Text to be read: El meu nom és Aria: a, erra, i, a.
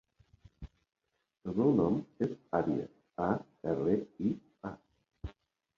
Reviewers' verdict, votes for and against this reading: accepted, 2, 0